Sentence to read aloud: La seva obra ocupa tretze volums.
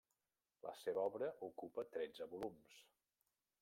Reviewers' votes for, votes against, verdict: 0, 2, rejected